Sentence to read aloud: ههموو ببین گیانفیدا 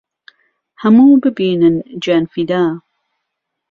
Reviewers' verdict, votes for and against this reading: rejected, 0, 2